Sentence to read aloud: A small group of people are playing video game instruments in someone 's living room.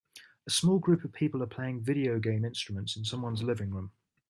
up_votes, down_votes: 3, 0